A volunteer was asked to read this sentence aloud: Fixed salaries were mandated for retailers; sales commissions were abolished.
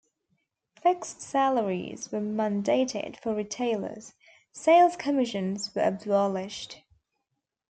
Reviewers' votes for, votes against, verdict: 2, 1, accepted